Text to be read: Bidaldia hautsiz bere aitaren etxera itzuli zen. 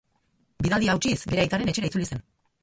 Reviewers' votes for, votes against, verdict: 4, 2, accepted